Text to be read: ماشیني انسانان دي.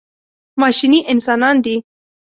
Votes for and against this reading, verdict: 2, 0, accepted